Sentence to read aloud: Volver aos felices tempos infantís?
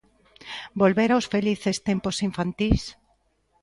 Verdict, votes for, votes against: accepted, 2, 0